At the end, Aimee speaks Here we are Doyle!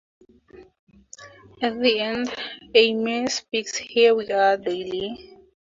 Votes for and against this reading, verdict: 0, 4, rejected